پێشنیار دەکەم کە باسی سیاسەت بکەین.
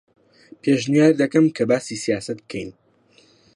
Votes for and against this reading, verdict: 2, 0, accepted